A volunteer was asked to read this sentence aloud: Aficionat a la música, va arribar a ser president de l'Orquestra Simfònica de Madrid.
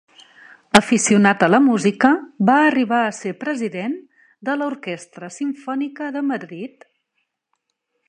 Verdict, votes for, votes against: accepted, 3, 0